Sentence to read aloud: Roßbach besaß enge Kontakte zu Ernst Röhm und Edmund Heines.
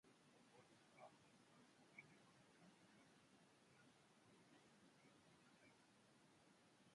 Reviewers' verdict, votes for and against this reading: rejected, 0, 2